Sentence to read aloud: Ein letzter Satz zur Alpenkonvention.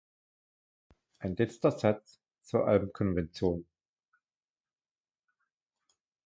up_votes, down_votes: 1, 2